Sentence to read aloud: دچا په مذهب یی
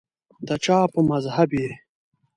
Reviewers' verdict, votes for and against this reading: rejected, 0, 2